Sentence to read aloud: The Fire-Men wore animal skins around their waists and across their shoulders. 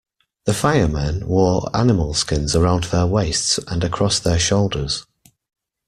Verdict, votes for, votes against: accepted, 2, 0